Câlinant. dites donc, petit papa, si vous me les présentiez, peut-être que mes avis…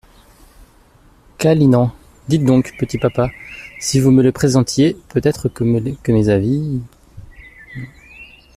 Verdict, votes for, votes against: rejected, 1, 2